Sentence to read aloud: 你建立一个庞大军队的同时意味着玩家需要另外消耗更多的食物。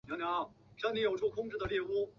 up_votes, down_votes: 0, 2